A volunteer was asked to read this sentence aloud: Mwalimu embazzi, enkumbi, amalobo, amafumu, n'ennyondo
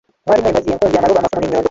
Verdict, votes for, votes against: rejected, 0, 2